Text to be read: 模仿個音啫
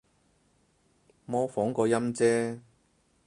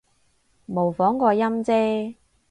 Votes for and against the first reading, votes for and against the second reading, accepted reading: 2, 4, 4, 0, second